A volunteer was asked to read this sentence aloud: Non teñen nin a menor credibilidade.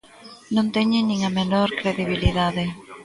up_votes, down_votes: 1, 2